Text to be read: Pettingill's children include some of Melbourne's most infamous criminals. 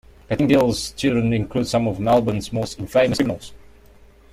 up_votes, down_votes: 0, 2